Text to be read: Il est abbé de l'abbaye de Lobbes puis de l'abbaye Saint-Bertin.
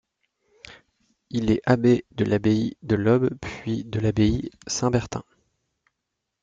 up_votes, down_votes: 2, 0